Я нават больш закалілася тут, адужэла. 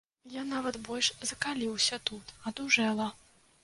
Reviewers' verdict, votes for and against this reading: rejected, 0, 2